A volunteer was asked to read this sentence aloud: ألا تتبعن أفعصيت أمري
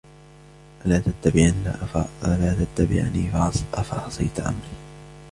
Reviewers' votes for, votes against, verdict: 2, 0, accepted